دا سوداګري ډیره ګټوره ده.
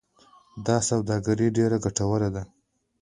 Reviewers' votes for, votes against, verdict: 2, 0, accepted